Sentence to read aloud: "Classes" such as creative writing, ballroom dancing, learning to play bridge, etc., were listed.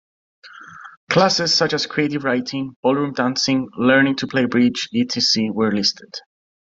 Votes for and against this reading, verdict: 2, 0, accepted